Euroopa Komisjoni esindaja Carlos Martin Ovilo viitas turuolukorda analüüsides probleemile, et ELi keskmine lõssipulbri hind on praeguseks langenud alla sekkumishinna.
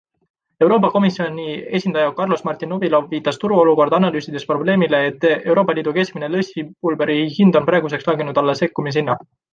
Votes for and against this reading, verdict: 2, 1, accepted